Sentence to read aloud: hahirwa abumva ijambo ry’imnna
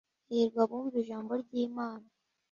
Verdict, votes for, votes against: rejected, 0, 2